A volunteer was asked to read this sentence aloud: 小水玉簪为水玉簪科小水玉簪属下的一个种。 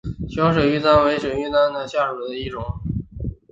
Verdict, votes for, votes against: rejected, 1, 5